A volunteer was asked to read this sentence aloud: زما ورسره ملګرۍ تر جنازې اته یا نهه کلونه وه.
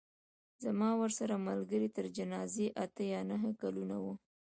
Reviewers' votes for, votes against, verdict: 1, 2, rejected